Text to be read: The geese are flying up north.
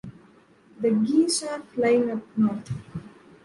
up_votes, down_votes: 2, 0